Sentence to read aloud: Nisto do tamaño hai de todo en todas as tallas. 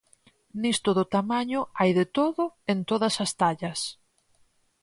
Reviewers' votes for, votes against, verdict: 4, 0, accepted